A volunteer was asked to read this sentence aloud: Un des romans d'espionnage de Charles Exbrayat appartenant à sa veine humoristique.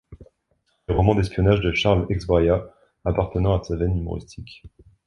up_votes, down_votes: 1, 2